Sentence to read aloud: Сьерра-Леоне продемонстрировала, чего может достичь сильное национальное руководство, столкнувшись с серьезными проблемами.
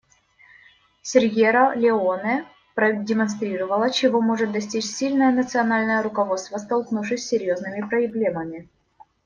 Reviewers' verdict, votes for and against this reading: rejected, 1, 2